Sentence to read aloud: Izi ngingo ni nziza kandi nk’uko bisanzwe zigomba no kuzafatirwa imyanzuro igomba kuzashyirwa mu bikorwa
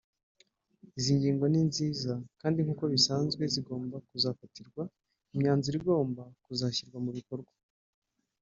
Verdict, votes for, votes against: rejected, 0, 2